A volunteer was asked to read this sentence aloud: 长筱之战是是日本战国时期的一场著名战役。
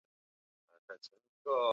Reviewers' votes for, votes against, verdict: 0, 2, rejected